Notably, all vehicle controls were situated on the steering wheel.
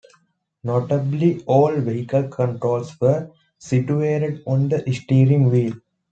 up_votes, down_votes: 2, 0